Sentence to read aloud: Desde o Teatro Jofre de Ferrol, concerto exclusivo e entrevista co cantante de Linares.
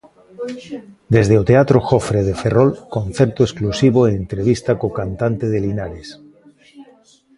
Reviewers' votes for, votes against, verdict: 0, 2, rejected